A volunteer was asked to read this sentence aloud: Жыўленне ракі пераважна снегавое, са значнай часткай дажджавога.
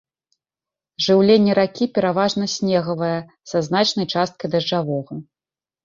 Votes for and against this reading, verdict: 0, 2, rejected